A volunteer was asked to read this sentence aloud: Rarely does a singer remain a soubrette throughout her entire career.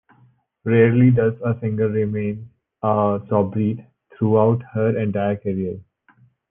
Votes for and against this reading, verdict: 1, 2, rejected